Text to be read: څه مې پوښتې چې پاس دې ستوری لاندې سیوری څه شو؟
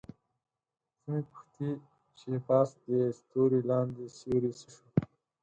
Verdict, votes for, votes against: rejected, 2, 4